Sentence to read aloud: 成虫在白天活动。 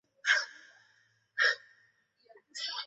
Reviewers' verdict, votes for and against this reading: rejected, 0, 2